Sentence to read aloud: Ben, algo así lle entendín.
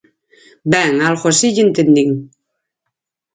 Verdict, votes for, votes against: accepted, 4, 0